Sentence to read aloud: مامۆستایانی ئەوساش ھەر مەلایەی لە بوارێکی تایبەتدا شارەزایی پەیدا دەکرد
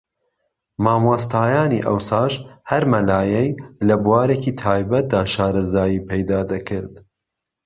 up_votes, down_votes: 2, 0